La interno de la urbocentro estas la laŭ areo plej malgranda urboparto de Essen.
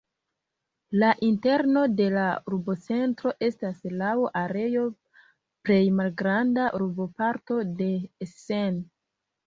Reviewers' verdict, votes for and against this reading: accepted, 2, 0